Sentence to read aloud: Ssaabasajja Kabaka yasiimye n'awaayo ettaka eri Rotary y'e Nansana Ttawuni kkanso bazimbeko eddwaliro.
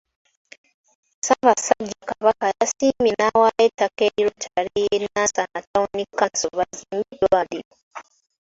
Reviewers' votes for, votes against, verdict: 3, 1, accepted